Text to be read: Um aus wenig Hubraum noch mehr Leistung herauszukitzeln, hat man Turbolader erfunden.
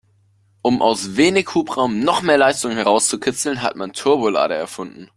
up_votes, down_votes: 2, 0